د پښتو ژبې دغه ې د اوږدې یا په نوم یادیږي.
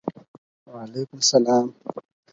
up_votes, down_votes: 2, 4